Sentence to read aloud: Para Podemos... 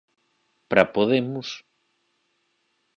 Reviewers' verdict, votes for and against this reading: accepted, 4, 2